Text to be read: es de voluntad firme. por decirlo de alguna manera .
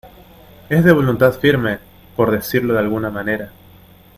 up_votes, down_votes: 2, 0